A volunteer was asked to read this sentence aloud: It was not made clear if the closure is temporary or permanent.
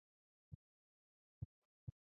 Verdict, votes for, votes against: rejected, 0, 2